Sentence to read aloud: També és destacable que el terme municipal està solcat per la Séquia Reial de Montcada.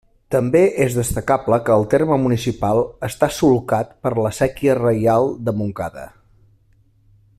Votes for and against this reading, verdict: 2, 0, accepted